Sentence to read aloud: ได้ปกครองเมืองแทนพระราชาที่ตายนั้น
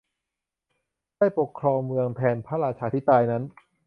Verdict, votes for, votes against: accepted, 2, 0